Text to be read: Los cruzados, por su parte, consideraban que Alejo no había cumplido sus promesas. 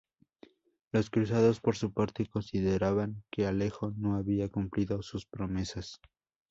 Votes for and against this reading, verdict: 2, 0, accepted